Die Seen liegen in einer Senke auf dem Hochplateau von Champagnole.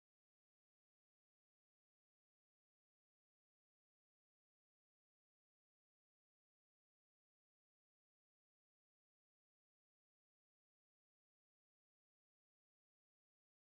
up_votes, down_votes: 0, 2